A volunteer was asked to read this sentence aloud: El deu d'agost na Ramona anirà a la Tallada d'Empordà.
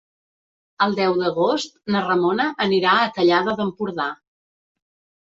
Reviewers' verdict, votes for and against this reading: rejected, 1, 2